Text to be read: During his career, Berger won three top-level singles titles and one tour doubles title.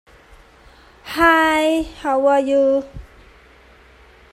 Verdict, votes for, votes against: rejected, 0, 2